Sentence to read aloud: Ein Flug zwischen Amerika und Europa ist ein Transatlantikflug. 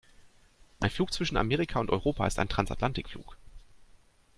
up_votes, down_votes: 2, 1